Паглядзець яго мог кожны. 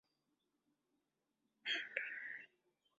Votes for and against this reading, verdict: 0, 2, rejected